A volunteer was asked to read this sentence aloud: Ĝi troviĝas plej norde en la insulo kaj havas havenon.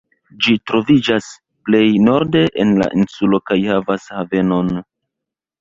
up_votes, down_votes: 0, 2